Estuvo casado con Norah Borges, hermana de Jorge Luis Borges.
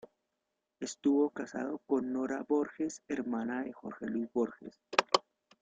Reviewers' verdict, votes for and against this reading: rejected, 1, 2